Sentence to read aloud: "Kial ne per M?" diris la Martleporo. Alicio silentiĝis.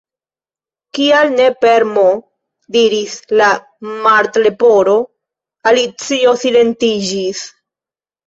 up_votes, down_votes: 2, 0